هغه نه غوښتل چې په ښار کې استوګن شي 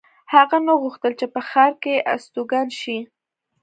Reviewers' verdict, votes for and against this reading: accepted, 2, 0